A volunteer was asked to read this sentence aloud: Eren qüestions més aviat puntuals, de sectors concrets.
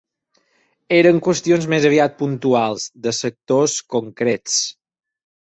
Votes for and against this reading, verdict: 4, 0, accepted